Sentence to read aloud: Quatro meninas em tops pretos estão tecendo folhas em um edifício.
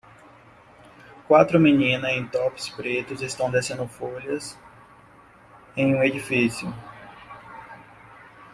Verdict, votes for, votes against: rejected, 0, 2